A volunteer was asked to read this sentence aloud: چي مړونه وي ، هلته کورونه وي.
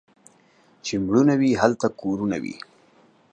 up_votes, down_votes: 1, 2